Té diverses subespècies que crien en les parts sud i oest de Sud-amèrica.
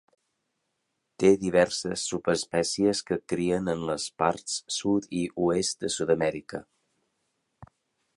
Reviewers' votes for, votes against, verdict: 3, 0, accepted